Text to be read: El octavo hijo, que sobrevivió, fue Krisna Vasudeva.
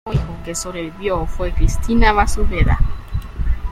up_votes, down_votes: 1, 2